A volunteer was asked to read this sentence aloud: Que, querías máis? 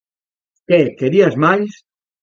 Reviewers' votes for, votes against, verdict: 1, 2, rejected